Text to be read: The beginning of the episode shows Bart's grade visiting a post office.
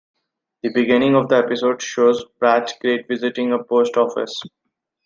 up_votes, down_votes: 2, 1